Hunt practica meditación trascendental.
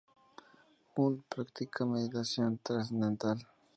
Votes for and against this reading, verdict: 2, 2, rejected